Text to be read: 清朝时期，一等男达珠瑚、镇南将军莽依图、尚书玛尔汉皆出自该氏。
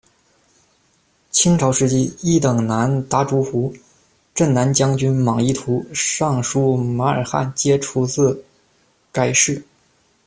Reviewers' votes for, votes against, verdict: 1, 2, rejected